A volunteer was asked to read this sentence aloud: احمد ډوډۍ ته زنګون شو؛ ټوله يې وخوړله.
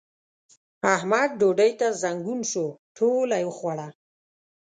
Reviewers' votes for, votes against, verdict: 2, 0, accepted